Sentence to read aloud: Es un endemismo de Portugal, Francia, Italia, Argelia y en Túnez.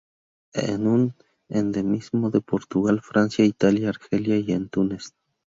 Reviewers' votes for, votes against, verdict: 0, 2, rejected